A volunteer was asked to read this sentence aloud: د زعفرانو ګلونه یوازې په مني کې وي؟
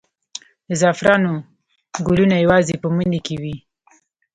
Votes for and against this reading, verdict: 2, 0, accepted